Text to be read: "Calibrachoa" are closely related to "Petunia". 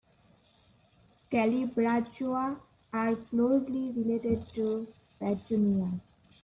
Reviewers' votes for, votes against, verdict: 0, 2, rejected